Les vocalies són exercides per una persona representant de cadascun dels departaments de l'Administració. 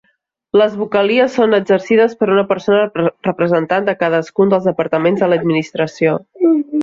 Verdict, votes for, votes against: rejected, 1, 2